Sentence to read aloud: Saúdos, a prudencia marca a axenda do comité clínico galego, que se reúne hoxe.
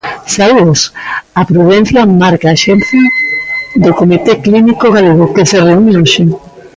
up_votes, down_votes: 1, 3